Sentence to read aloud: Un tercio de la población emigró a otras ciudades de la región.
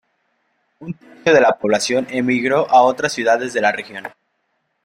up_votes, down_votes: 0, 2